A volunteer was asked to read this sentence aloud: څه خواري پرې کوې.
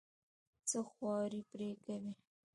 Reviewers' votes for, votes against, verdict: 2, 0, accepted